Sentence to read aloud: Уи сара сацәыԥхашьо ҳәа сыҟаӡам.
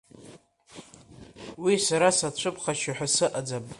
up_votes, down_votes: 2, 0